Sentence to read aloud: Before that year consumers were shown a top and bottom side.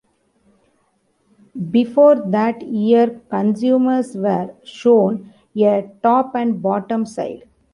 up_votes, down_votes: 1, 2